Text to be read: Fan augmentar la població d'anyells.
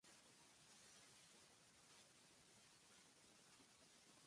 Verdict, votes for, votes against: rejected, 0, 2